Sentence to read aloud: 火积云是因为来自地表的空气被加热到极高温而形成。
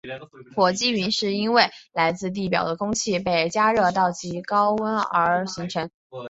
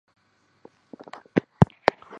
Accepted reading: first